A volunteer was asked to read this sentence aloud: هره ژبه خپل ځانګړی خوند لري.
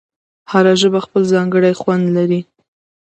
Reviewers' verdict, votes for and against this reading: accepted, 2, 0